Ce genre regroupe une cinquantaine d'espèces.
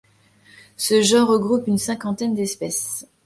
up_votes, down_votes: 2, 0